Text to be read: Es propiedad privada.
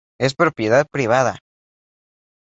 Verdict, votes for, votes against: accepted, 2, 0